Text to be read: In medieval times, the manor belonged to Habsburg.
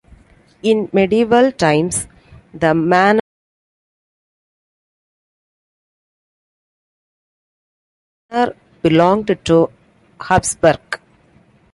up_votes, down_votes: 1, 2